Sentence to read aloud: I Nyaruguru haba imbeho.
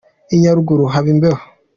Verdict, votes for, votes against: accepted, 2, 0